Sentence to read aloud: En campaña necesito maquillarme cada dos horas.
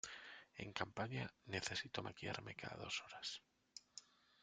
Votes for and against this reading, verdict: 1, 2, rejected